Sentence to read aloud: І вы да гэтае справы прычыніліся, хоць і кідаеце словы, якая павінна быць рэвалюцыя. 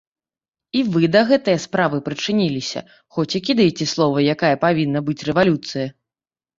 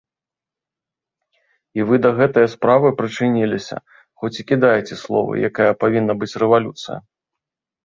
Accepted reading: second